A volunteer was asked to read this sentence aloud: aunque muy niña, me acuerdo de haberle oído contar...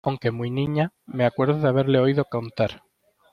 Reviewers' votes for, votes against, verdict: 2, 1, accepted